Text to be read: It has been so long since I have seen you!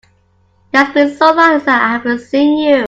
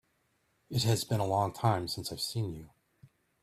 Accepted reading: first